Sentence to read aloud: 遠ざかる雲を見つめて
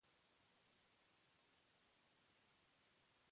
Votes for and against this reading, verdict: 0, 2, rejected